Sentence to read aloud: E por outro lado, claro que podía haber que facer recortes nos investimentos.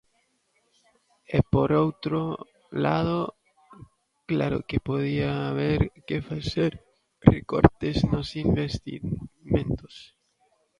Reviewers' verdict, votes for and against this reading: rejected, 1, 2